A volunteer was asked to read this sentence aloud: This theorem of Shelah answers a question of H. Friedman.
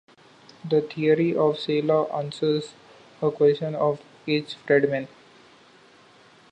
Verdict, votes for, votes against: rejected, 0, 2